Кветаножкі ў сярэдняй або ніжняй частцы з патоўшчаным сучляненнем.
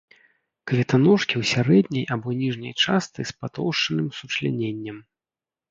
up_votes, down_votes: 2, 0